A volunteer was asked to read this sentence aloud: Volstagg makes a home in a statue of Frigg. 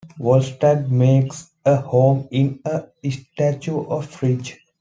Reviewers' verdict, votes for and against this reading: accepted, 2, 0